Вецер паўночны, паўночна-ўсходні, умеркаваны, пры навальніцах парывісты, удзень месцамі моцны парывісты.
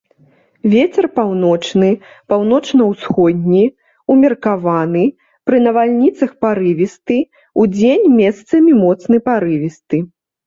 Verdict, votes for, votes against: accepted, 2, 0